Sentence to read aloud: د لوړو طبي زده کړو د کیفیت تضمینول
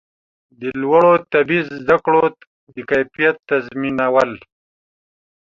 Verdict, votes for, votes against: accepted, 2, 0